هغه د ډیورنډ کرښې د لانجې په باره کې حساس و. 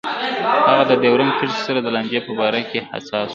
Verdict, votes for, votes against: accepted, 2, 0